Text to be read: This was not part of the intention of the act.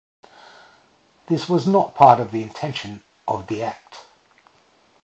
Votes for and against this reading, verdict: 2, 0, accepted